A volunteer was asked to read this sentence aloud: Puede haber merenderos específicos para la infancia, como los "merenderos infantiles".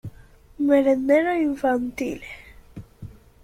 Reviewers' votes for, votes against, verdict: 0, 2, rejected